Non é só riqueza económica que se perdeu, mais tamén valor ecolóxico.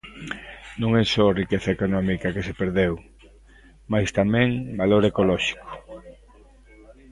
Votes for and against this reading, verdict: 0, 2, rejected